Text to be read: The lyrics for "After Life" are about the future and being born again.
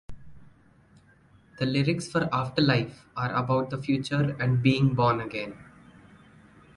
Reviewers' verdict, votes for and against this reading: accepted, 2, 0